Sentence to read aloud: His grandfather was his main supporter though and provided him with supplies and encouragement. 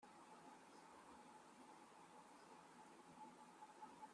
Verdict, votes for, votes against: rejected, 0, 2